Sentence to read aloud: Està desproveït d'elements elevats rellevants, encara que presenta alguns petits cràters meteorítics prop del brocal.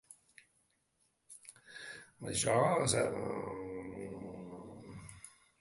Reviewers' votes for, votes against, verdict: 0, 2, rejected